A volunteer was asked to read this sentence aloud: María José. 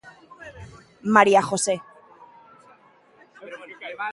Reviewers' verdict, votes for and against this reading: rejected, 1, 2